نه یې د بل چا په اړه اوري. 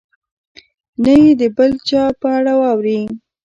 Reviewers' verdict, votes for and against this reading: rejected, 0, 2